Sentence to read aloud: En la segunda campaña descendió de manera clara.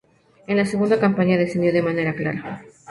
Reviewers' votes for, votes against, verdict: 2, 0, accepted